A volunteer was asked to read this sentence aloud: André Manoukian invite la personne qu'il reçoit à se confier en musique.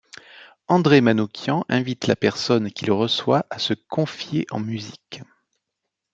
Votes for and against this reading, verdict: 2, 0, accepted